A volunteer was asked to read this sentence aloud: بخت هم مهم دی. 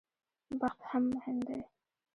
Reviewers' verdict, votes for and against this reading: rejected, 0, 2